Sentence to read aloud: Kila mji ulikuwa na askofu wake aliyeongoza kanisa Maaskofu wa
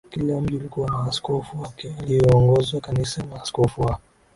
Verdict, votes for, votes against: accepted, 2, 0